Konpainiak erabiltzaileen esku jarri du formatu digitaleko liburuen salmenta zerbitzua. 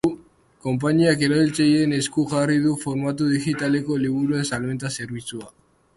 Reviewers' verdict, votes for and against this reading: accepted, 5, 1